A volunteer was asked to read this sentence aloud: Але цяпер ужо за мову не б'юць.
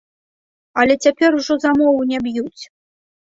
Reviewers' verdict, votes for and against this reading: rejected, 1, 2